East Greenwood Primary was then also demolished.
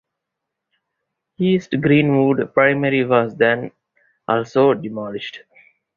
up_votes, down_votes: 4, 0